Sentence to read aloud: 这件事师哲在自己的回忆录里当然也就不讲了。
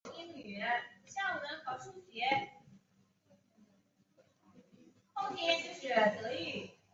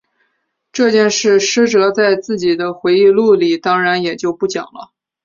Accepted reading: second